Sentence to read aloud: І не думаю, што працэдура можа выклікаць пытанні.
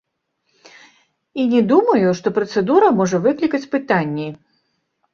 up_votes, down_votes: 1, 2